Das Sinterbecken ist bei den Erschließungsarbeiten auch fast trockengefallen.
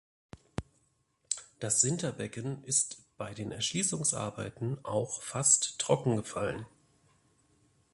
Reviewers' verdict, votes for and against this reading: accepted, 2, 0